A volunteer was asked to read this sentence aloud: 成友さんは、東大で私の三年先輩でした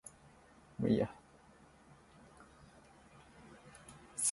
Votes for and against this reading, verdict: 1, 2, rejected